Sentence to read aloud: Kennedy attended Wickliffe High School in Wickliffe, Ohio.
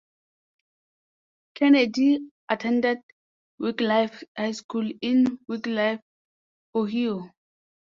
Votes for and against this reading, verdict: 0, 2, rejected